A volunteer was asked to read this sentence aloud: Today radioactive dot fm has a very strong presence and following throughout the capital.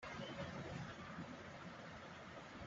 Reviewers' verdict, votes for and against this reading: rejected, 0, 2